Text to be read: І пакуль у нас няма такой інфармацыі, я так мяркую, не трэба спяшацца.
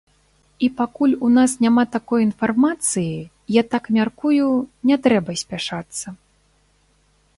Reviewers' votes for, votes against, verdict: 2, 1, accepted